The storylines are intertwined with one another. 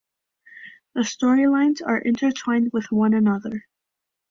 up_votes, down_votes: 3, 0